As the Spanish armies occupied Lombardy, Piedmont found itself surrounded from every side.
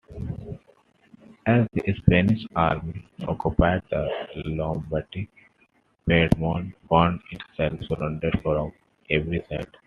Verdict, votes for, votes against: accepted, 2, 0